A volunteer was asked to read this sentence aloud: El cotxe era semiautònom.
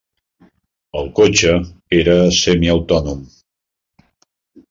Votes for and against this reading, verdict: 3, 0, accepted